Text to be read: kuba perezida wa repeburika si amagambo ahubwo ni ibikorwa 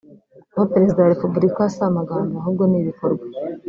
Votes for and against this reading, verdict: 1, 2, rejected